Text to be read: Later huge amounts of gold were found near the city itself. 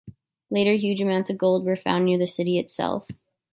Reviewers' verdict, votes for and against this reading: accepted, 2, 0